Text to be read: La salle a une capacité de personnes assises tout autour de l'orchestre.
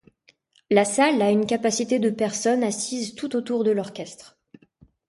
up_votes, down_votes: 2, 0